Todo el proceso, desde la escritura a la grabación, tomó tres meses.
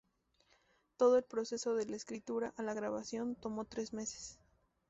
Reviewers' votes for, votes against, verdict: 0, 2, rejected